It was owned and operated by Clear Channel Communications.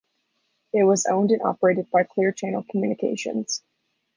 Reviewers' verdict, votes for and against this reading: rejected, 1, 2